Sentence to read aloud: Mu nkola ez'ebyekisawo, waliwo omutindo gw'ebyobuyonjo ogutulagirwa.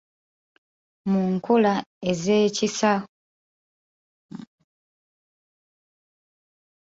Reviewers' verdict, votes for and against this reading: rejected, 0, 2